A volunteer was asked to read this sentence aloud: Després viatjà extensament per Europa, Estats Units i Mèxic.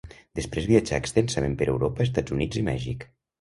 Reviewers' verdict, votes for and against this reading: rejected, 1, 2